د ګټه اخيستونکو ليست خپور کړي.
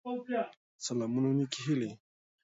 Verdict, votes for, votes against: rejected, 0, 2